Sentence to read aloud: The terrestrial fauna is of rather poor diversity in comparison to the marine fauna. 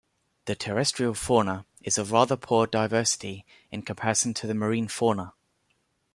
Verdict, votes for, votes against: accepted, 2, 1